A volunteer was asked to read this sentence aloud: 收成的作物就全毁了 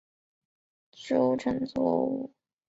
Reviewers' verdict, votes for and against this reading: rejected, 0, 2